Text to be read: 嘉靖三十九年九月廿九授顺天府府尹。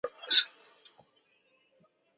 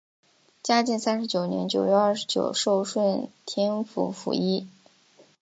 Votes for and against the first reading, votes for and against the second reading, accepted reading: 1, 3, 3, 0, second